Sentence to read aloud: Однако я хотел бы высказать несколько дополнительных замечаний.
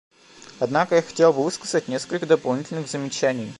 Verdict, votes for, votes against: rejected, 0, 2